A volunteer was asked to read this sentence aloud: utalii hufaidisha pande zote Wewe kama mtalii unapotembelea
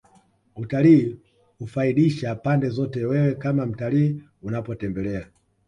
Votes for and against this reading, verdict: 1, 2, rejected